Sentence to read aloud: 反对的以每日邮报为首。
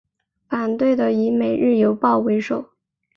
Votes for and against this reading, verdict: 3, 0, accepted